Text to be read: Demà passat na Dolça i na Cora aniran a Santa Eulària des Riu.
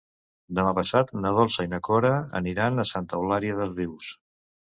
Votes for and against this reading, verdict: 1, 2, rejected